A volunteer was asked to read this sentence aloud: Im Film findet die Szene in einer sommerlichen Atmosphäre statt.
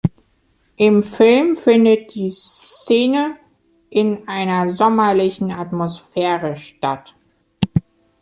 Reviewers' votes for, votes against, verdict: 2, 0, accepted